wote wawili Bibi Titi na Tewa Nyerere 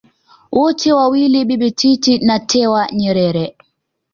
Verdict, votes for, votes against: accepted, 2, 1